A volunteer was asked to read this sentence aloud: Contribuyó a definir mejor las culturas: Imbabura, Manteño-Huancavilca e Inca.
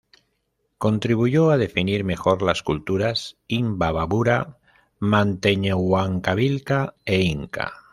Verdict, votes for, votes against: rejected, 1, 2